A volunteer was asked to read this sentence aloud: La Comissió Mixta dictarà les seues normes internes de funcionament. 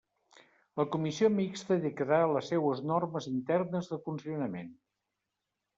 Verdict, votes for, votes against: rejected, 1, 2